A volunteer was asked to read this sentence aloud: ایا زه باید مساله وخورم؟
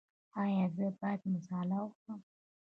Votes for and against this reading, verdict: 2, 0, accepted